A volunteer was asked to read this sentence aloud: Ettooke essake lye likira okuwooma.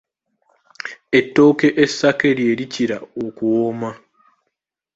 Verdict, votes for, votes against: accepted, 2, 0